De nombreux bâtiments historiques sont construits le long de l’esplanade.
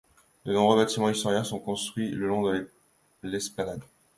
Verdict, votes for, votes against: rejected, 1, 2